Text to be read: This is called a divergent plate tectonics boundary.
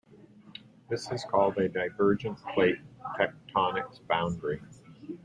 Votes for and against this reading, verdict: 0, 2, rejected